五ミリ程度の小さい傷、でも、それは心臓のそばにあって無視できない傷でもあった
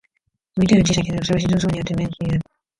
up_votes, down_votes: 0, 2